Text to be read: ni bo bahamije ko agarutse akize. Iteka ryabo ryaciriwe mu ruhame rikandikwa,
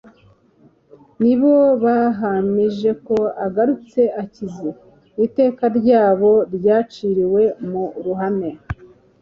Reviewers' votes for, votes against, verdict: 0, 2, rejected